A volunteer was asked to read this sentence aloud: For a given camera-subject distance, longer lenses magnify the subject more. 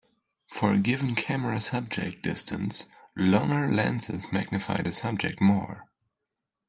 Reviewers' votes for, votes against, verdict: 2, 0, accepted